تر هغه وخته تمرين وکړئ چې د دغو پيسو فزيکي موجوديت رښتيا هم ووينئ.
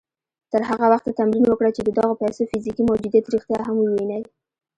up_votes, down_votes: 0, 2